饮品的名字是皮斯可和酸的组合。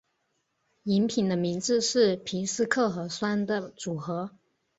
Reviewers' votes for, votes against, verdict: 4, 0, accepted